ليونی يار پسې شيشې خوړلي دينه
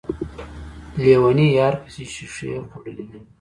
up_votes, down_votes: 0, 2